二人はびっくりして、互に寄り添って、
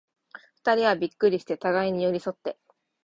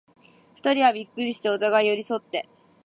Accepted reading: first